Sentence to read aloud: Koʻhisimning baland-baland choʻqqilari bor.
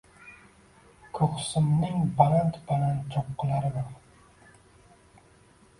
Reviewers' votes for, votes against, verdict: 0, 2, rejected